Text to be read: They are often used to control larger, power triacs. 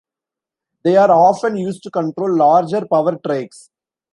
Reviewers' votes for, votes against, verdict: 1, 2, rejected